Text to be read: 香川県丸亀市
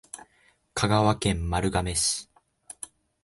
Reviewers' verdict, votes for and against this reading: accepted, 2, 0